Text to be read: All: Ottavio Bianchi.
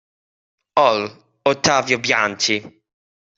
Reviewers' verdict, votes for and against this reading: rejected, 0, 2